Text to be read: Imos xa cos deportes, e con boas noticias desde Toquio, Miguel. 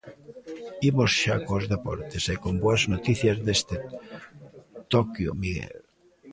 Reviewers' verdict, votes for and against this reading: rejected, 0, 2